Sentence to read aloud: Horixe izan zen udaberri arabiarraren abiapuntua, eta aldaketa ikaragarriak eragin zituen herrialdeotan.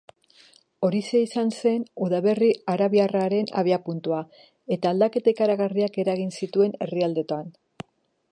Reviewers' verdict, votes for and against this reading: rejected, 0, 2